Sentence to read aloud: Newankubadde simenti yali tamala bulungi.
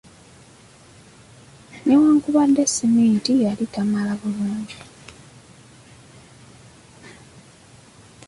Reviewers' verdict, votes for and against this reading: accepted, 2, 0